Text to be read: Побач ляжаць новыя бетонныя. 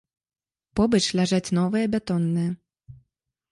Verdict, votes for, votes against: rejected, 1, 2